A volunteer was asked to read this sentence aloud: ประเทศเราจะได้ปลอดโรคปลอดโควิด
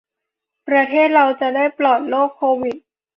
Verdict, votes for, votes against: rejected, 1, 3